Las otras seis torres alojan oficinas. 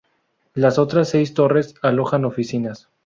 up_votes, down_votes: 2, 0